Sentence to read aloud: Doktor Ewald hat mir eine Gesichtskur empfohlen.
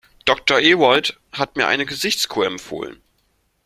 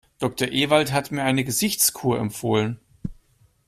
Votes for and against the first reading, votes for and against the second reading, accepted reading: 1, 2, 2, 0, second